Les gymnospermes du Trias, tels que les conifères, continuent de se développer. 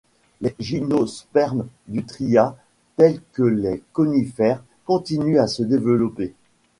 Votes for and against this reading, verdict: 1, 2, rejected